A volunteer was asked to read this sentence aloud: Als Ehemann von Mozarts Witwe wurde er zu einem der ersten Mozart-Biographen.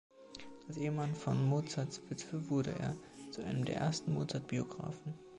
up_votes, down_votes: 2, 1